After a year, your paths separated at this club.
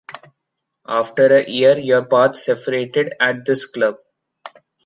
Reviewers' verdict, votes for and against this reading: accepted, 2, 0